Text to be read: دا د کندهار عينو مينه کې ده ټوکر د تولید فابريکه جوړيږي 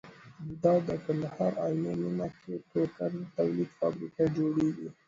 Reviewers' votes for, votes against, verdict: 2, 0, accepted